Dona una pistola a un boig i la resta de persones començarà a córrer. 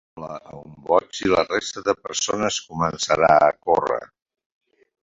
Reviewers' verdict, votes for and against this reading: rejected, 1, 2